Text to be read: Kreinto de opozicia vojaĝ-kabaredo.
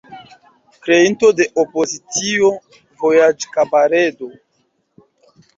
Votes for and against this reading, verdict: 1, 2, rejected